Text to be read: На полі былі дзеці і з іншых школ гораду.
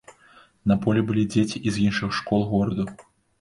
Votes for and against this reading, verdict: 0, 2, rejected